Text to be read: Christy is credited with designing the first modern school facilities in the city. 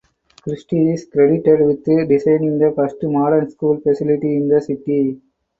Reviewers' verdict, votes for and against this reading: rejected, 0, 4